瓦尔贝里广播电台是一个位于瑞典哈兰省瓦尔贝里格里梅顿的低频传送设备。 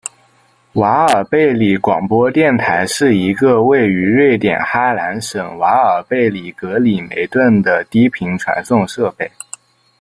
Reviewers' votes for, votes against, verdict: 2, 0, accepted